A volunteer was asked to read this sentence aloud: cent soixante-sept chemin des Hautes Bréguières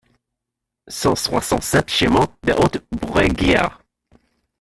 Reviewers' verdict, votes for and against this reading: rejected, 1, 2